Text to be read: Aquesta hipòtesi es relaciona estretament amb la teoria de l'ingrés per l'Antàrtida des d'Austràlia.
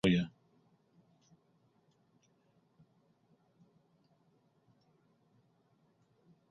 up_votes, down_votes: 0, 2